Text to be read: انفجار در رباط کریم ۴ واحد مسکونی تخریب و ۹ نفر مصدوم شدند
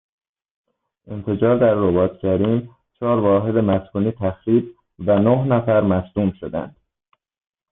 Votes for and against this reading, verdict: 0, 2, rejected